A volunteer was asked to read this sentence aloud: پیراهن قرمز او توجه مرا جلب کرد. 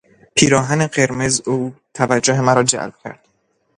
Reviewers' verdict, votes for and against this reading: rejected, 0, 2